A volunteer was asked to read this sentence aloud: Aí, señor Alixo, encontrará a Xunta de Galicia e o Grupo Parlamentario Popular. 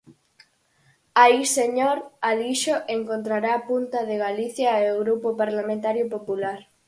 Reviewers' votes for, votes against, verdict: 0, 4, rejected